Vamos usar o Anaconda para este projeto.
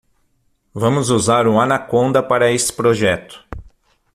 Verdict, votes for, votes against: rejected, 3, 6